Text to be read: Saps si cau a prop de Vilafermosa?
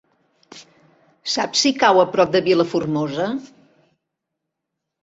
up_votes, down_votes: 0, 2